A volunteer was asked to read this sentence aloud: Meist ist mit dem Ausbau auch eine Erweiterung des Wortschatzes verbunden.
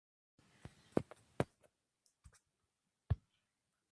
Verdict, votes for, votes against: rejected, 0, 2